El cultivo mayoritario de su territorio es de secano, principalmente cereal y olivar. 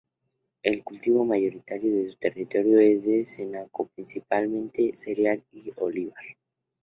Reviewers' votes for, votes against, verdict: 0, 2, rejected